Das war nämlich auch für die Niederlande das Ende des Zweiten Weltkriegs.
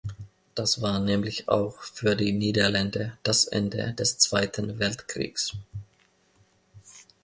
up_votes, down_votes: 0, 2